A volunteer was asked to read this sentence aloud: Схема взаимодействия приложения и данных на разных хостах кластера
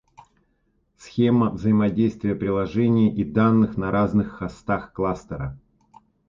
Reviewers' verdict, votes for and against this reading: accepted, 2, 0